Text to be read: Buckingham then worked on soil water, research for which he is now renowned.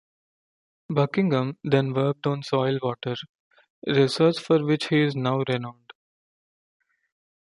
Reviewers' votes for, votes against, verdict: 2, 0, accepted